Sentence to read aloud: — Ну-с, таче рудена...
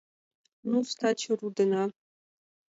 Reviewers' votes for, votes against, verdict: 2, 0, accepted